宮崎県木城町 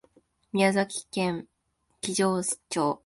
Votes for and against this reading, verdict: 1, 2, rejected